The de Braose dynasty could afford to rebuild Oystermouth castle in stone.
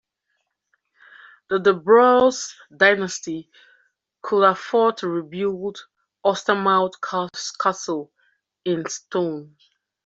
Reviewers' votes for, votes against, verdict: 1, 2, rejected